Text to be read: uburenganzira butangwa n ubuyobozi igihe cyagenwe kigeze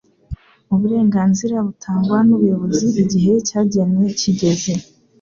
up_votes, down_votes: 3, 0